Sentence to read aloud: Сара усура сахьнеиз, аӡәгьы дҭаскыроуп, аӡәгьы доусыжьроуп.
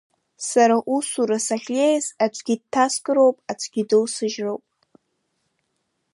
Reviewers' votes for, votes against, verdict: 2, 1, accepted